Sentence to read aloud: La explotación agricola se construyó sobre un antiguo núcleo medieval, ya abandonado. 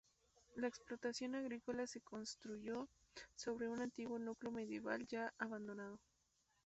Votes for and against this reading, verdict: 2, 2, rejected